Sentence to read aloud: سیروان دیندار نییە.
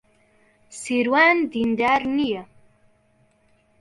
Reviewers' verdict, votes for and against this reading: accepted, 2, 0